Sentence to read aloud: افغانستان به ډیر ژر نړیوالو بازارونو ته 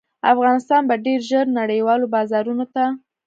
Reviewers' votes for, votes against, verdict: 2, 0, accepted